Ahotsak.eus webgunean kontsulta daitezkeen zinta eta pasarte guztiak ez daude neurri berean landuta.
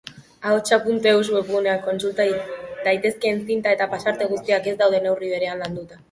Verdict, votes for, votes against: accepted, 2, 1